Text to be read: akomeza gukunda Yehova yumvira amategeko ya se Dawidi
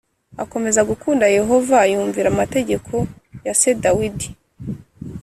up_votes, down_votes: 4, 0